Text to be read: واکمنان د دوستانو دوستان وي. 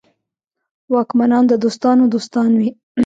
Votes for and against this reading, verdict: 2, 0, accepted